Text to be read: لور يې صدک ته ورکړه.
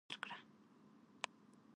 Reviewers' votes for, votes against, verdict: 1, 2, rejected